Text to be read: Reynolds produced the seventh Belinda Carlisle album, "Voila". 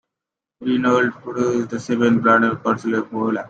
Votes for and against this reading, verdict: 1, 2, rejected